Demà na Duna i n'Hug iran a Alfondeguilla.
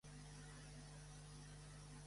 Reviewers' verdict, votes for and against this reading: rejected, 0, 2